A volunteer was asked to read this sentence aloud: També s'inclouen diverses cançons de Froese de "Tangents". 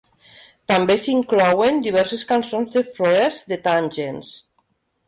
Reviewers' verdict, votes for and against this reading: accepted, 2, 1